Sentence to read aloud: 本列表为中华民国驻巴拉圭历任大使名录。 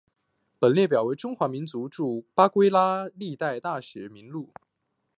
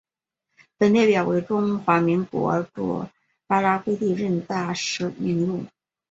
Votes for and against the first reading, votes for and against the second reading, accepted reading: 2, 3, 2, 0, second